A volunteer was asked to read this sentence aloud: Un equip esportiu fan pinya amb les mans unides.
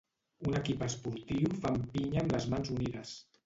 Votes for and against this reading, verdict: 2, 0, accepted